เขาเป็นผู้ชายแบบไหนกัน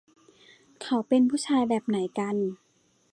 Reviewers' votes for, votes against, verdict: 2, 0, accepted